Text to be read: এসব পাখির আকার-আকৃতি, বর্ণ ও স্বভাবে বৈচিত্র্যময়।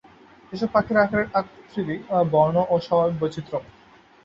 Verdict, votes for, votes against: rejected, 3, 8